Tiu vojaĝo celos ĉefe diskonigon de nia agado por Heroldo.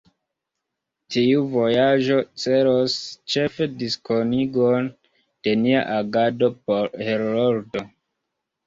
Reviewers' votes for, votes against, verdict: 0, 2, rejected